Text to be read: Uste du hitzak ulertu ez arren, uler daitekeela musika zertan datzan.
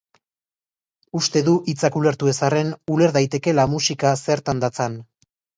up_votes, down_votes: 2, 0